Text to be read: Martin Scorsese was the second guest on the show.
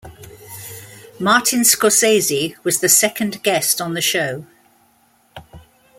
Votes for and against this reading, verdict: 2, 0, accepted